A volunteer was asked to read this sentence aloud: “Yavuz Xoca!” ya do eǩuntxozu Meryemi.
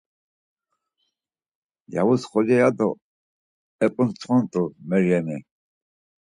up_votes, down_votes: 2, 4